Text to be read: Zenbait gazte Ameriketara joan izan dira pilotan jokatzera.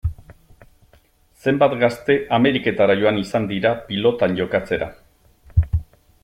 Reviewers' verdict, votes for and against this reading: rejected, 1, 2